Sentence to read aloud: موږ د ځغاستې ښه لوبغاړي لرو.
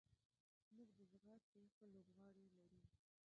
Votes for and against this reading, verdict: 0, 2, rejected